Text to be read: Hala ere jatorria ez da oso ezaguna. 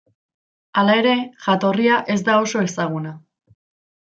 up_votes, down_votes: 2, 0